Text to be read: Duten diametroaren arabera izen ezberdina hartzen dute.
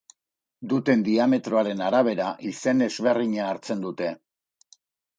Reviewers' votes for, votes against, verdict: 2, 0, accepted